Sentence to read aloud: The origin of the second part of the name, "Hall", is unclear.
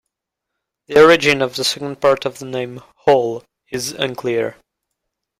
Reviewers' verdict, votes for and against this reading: accepted, 2, 0